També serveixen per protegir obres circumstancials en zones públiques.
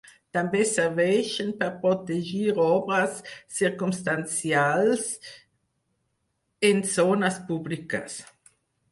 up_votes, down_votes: 4, 2